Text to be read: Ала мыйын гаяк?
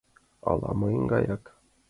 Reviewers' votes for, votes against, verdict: 2, 0, accepted